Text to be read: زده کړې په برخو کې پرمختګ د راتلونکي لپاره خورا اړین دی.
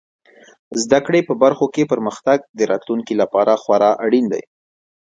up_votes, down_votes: 2, 0